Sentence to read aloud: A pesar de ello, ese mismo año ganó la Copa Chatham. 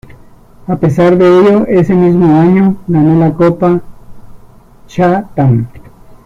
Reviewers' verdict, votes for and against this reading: accepted, 2, 0